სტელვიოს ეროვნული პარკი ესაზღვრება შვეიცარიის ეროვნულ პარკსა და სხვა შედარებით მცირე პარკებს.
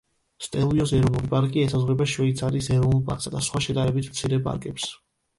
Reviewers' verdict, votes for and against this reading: accepted, 2, 0